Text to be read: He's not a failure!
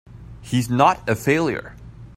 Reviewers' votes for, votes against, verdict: 2, 0, accepted